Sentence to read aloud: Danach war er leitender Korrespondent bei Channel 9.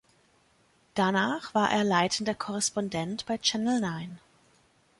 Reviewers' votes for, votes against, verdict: 0, 2, rejected